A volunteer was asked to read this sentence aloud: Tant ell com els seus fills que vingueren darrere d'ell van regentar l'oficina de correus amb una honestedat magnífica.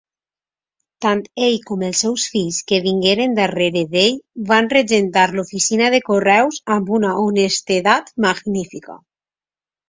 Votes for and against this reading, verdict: 2, 0, accepted